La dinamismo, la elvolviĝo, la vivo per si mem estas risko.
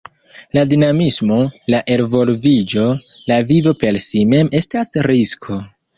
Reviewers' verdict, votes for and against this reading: accepted, 2, 0